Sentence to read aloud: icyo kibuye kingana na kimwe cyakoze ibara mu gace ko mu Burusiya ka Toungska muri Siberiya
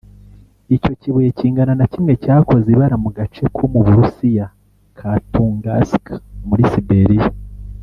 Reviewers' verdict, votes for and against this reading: accepted, 3, 1